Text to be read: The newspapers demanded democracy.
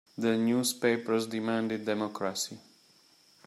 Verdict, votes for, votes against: accepted, 2, 0